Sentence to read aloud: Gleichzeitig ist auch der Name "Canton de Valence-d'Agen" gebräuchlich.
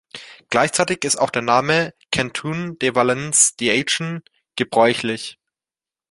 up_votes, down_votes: 1, 2